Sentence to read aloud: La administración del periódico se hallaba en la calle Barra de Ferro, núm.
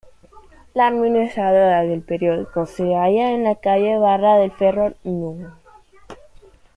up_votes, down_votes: 0, 2